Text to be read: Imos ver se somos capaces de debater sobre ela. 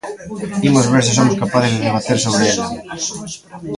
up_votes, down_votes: 0, 2